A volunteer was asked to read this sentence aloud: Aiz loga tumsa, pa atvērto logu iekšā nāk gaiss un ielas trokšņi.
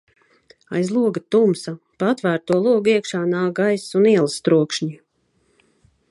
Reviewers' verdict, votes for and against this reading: accepted, 2, 0